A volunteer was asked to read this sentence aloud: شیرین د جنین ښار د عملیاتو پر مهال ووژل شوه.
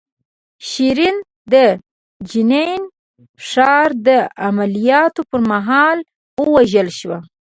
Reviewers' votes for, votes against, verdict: 2, 0, accepted